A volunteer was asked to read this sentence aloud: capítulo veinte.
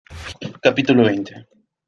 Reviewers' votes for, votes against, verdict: 2, 0, accepted